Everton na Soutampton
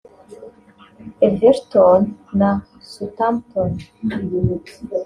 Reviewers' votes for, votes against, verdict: 1, 2, rejected